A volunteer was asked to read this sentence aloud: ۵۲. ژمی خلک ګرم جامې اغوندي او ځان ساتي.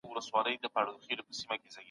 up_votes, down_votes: 0, 2